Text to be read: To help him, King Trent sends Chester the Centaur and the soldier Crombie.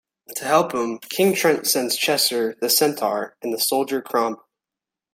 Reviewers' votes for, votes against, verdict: 2, 1, accepted